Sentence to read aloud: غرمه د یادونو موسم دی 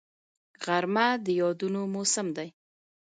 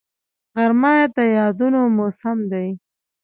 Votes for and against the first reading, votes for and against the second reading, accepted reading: 2, 1, 0, 2, first